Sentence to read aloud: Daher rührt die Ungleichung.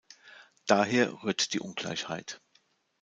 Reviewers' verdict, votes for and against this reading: rejected, 0, 2